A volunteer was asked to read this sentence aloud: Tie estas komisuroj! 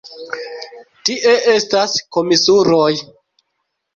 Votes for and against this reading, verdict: 2, 0, accepted